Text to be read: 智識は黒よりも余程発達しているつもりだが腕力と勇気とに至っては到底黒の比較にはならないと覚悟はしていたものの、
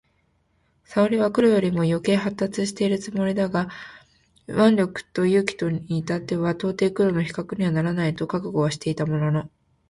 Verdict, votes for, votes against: accepted, 2, 1